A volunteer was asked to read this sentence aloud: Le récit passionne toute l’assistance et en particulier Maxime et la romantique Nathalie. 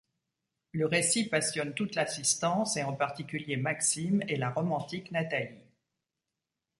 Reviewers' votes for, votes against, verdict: 2, 0, accepted